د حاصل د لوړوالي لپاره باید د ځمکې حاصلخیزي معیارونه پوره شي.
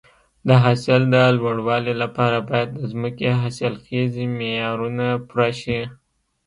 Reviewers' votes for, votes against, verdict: 2, 1, accepted